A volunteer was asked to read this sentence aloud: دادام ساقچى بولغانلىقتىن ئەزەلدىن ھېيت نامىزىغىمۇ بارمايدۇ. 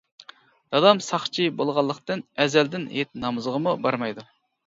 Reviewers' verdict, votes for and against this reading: accepted, 2, 0